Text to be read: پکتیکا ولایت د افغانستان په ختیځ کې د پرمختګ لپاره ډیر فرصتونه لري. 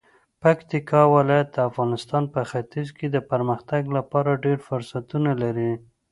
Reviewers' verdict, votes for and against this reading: accepted, 2, 0